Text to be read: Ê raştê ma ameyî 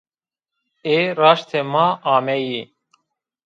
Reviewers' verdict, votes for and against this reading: rejected, 1, 2